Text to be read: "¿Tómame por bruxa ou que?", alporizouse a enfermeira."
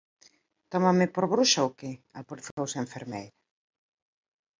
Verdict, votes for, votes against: rejected, 1, 3